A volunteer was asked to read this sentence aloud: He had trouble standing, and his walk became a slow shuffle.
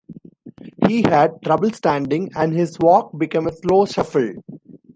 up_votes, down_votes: 1, 2